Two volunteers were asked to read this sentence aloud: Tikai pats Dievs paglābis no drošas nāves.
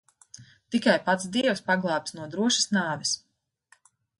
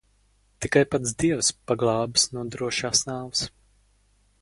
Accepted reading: first